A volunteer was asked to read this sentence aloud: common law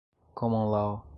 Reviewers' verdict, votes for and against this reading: rejected, 1, 2